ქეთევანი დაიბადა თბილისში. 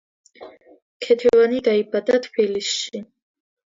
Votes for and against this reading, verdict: 2, 0, accepted